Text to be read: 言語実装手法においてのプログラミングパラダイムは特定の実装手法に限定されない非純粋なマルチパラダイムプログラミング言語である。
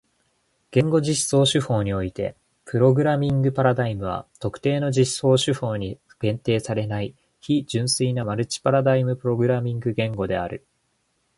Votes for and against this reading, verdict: 0, 2, rejected